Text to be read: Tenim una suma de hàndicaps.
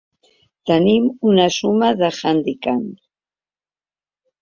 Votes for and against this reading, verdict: 0, 2, rejected